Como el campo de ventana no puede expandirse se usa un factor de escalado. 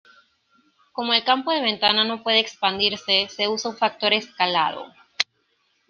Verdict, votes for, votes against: rejected, 0, 2